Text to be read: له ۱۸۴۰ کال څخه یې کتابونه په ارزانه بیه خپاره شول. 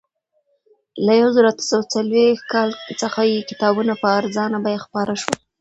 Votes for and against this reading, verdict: 0, 2, rejected